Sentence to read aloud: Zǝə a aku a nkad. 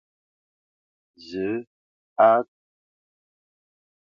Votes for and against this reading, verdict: 0, 2, rejected